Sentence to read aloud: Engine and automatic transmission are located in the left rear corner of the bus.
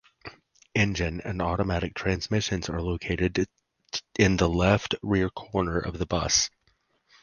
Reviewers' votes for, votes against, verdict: 2, 4, rejected